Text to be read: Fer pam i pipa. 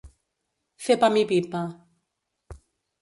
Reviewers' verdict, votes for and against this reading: accepted, 2, 0